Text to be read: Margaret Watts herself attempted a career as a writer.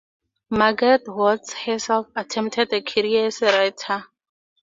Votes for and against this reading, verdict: 2, 0, accepted